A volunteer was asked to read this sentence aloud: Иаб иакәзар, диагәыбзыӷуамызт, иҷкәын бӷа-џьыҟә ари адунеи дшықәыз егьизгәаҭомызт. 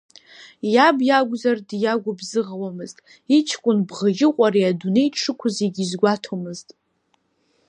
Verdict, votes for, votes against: rejected, 1, 2